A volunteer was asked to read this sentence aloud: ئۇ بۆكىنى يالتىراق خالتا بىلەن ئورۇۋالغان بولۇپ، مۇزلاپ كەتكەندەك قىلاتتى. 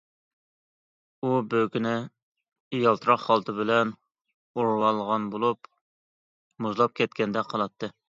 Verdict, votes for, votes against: accepted, 2, 0